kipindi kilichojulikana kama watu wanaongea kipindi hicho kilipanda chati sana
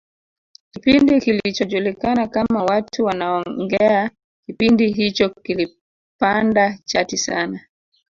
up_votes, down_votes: 1, 2